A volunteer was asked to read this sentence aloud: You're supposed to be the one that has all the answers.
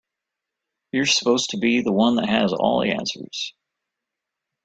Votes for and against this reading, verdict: 2, 0, accepted